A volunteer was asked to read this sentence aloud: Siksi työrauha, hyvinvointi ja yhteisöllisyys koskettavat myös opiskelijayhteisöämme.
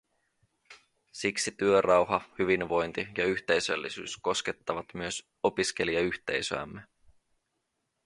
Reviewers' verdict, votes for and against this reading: accepted, 2, 0